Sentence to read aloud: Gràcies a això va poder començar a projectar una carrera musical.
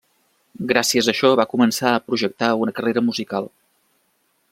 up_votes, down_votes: 1, 2